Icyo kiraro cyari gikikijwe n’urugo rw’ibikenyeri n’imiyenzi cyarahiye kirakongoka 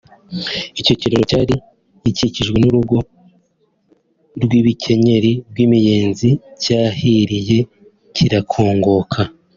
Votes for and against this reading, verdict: 1, 2, rejected